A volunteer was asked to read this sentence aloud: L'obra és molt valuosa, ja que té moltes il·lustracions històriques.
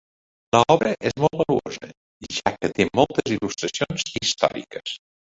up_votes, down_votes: 2, 4